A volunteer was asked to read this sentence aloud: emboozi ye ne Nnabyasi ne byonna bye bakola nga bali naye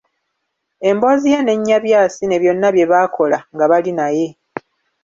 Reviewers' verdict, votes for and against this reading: rejected, 0, 3